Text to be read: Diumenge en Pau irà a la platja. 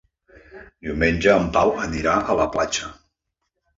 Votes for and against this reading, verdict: 1, 2, rejected